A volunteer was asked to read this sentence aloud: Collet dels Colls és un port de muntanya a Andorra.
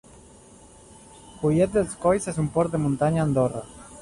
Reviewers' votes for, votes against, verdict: 1, 2, rejected